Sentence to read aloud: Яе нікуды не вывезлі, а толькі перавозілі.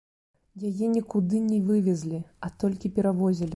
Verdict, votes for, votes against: accepted, 2, 1